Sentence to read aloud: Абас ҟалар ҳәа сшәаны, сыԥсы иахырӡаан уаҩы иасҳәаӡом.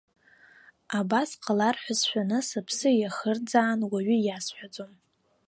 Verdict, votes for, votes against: accepted, 2, 0